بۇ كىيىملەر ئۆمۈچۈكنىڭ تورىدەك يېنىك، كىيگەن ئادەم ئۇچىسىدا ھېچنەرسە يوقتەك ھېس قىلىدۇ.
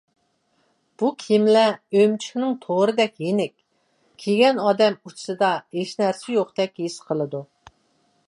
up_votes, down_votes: 0, 2